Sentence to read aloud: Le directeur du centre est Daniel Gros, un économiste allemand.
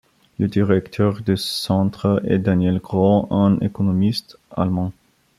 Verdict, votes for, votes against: accepted, 2, 0